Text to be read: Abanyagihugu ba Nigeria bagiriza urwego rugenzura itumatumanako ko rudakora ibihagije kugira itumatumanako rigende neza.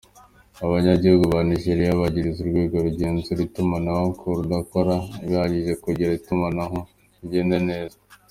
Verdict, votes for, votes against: rejected, 1, 2